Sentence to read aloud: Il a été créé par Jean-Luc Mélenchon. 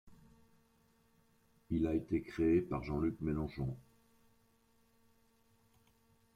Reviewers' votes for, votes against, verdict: 1, 2, rejected